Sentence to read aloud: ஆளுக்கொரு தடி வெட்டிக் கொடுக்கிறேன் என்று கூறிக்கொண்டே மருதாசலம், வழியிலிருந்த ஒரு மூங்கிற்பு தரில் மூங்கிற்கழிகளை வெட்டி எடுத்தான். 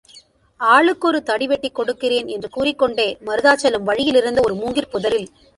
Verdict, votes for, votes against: rejected, 0, 3